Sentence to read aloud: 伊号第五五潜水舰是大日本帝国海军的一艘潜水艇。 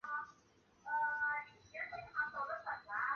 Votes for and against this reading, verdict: 0, 2, rejected